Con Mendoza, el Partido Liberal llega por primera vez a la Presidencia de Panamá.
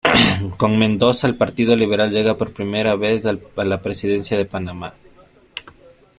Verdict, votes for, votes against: accepted, 2, 0